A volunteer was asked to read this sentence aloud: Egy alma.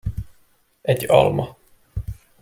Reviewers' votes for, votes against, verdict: 2, 0, accepted